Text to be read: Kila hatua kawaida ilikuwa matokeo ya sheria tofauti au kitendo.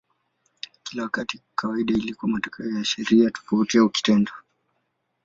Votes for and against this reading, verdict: 7, 14, rejected